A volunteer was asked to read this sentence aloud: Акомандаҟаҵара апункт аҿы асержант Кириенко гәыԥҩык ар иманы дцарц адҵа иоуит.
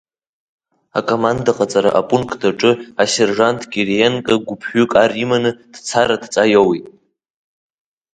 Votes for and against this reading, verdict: 2, 1, accepted